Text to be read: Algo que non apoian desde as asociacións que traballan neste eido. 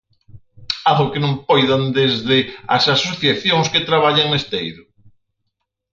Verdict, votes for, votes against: rejected, 0, 4